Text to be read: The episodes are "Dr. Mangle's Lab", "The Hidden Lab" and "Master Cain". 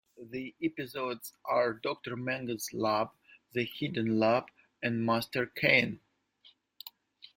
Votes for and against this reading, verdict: 2, 0, accepted